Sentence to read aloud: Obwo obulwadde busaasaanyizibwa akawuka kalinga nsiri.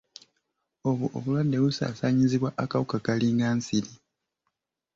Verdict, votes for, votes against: accepted, 2, 0